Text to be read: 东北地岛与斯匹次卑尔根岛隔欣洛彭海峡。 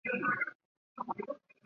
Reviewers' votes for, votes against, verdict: 2, 1, accepted